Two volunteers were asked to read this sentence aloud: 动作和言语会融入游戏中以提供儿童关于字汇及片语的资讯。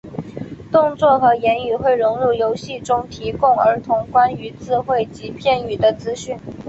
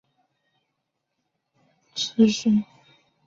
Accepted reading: first